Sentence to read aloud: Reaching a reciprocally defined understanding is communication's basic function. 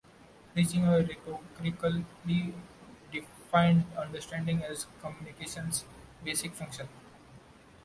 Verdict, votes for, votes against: rejected, 1, 2